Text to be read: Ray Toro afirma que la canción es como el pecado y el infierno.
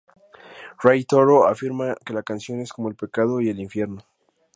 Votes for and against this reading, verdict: 2, 2, rejected